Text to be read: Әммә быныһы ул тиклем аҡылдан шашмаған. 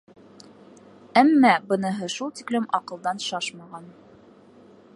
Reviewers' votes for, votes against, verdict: 1, 2, rejected